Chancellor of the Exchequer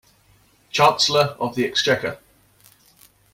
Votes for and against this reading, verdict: 2, 0, accepted